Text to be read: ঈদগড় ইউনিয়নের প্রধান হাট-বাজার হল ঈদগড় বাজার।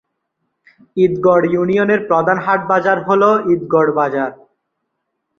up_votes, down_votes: 2, 0